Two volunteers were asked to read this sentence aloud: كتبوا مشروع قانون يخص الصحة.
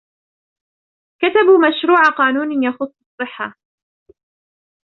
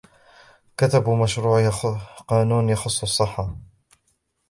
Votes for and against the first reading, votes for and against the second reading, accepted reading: 2, 0, 0, 2, first